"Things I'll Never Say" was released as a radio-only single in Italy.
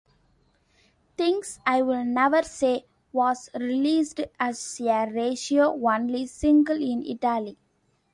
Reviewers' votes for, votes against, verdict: 0, 2, rejected